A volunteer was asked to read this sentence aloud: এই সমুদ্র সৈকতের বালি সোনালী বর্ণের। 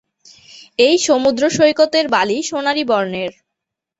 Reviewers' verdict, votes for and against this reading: accepted, 3, 0